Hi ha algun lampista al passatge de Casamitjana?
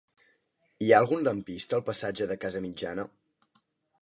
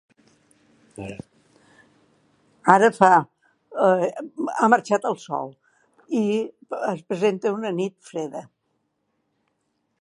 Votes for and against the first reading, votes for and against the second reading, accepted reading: 2, 0, 0, 2, first